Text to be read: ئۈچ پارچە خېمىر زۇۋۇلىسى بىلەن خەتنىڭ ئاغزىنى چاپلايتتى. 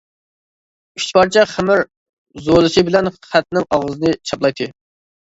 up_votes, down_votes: 2, 0